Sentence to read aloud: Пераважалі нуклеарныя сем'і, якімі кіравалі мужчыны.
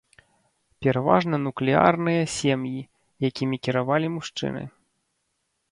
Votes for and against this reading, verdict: 1, 2, rejected